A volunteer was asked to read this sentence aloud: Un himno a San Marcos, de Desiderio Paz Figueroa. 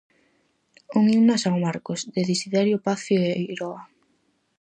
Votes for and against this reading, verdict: 2, 2, rejected